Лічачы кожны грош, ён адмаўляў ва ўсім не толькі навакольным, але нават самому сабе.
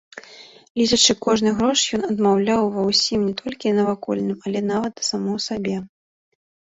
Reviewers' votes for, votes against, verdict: 1, 2, rejected